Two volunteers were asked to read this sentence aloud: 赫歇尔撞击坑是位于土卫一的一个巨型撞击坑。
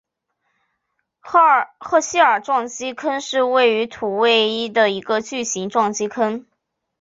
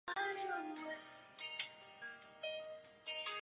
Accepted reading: first